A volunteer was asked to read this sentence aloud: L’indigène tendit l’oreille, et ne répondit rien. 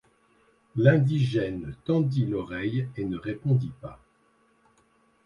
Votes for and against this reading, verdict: 1, 2, rejected